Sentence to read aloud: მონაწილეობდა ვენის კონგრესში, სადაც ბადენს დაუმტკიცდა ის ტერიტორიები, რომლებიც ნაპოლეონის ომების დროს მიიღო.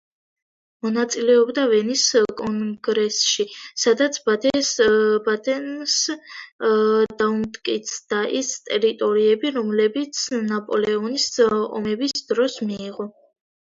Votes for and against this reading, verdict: 0, 2, rejected